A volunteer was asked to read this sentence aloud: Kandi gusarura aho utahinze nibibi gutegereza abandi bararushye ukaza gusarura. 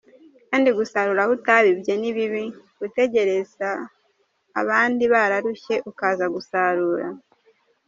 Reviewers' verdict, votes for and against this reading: rejected, 0, 2